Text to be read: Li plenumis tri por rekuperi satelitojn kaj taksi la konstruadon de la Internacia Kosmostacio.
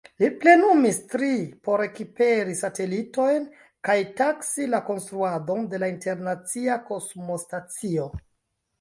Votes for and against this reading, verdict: 1, 2, rejected